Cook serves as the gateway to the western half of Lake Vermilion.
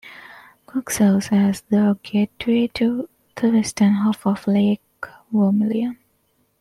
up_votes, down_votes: 2, 0